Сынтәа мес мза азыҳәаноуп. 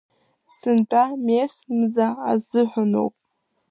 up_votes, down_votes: 2, 1